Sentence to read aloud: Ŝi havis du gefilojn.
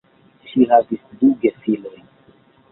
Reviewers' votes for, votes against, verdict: 1, 2, rejected